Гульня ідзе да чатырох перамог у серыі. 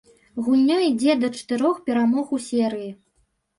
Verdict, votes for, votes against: accepted, 2, 1